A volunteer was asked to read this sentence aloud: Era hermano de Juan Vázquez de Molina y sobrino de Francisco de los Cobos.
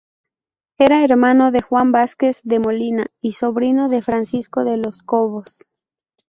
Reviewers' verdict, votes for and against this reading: rejected, 0, 2